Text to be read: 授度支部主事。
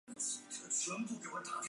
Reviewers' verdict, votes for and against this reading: rejected, 0, 4